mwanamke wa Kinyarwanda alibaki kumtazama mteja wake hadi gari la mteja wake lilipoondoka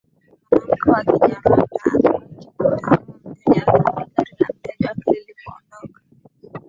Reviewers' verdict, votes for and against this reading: rejected, 1, 2